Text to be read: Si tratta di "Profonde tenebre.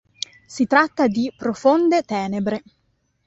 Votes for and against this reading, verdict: 2, 0, accepted